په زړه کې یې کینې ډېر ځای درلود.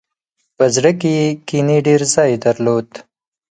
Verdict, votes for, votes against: accepted, 4, 0